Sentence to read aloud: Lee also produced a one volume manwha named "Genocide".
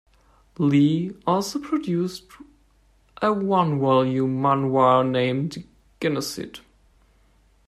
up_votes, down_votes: 0, 2